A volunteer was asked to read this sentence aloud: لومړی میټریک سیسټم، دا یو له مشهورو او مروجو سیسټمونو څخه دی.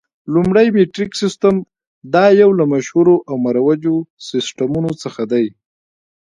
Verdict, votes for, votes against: rejected, 0, 2